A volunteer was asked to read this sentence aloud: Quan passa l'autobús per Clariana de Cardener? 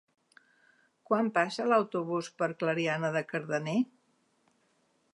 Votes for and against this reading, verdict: 3, 0, accepted